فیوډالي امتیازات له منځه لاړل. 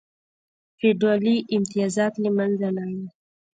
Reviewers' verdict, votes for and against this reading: rejected, 0, 2